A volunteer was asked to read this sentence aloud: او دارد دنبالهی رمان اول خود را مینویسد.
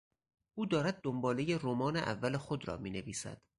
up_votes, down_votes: 4, 0